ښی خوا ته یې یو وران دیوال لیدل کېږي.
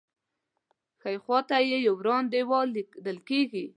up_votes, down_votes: 2, 0